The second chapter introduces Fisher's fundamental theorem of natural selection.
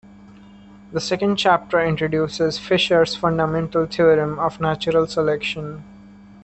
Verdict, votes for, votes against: accepted, 2, 0